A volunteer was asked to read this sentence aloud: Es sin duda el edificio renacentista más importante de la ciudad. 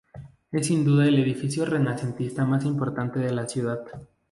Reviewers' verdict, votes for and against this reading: rejected, 0, 2